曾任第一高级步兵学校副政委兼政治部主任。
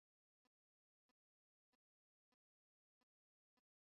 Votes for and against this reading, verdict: 0, 4, rejected